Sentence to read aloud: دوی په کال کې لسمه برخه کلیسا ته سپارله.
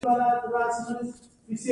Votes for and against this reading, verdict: 1, 2, rejected